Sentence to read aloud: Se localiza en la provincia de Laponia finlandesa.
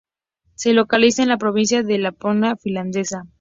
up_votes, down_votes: 0, 2